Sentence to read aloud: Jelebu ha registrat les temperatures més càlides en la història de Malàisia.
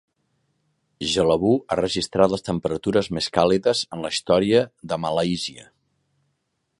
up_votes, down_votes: 2, 0